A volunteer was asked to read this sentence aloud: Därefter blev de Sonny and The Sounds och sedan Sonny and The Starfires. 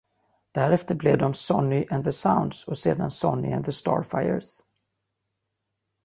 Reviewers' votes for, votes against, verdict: 2, 0, accepted